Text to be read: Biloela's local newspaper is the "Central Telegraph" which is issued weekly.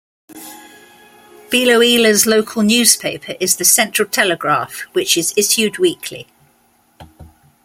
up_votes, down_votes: 2, 0